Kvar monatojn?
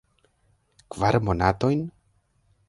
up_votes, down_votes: 1, 2